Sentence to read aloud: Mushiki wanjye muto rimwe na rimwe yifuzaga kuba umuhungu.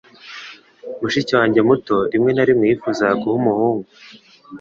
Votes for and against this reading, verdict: 3, 1, accepted